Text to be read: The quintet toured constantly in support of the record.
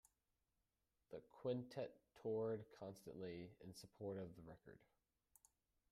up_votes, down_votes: 1, 2